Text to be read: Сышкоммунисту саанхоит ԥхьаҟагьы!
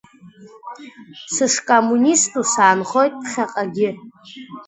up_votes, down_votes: 0, 2